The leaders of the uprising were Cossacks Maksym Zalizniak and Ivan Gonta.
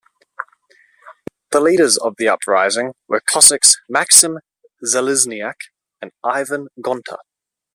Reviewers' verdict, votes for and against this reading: accepted, 2, 0